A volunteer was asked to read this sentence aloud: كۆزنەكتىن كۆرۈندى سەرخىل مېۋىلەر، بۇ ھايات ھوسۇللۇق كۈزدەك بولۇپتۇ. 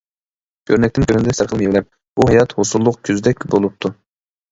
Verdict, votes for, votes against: rejected, 1, 2